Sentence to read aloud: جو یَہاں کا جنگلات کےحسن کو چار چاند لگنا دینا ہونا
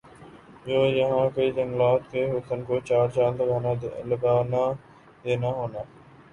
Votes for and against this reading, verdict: 0, 2, rejected